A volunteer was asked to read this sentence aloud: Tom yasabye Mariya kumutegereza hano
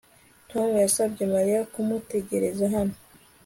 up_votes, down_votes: 3, 0